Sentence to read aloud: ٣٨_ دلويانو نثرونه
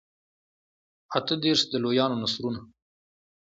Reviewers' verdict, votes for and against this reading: rejected, 0, 2